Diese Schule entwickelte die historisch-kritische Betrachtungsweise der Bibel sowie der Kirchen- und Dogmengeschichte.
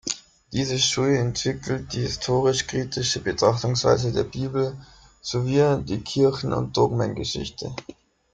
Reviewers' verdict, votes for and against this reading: rejected, 1, 2